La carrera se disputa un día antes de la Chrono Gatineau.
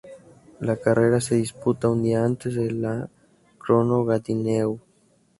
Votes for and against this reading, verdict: 2, 0, accepted